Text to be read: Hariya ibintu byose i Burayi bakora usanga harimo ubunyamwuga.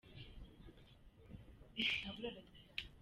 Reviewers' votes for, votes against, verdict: 0, 2, rejected